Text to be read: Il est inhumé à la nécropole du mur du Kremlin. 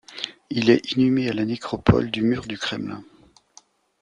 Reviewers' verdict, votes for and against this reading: accepted, 2, 0